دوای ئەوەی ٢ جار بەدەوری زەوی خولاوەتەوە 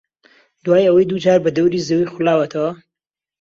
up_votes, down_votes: 0, 2